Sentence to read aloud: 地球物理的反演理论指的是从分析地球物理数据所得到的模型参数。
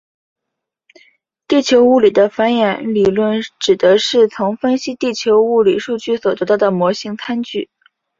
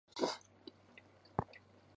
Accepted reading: first